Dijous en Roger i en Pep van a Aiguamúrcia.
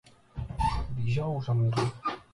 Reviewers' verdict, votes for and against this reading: rejected, 1, 2